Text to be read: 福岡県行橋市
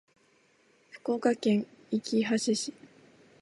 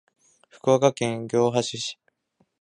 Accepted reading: first